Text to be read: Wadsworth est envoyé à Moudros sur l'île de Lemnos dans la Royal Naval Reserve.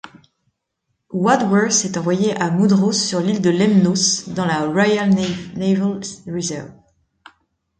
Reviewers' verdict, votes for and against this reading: rejected, 0, 2